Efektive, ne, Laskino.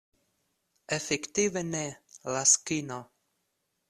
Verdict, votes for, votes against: accepted, 2, 0